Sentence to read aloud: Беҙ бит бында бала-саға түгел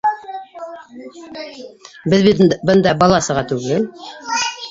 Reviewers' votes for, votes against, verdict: 2, 4, rejected